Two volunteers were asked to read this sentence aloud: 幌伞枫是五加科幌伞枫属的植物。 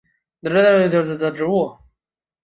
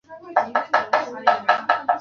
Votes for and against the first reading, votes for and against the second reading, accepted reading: 3, 1, 0, 2, first